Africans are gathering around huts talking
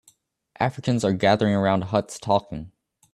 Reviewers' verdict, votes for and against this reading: accepted, 2, 0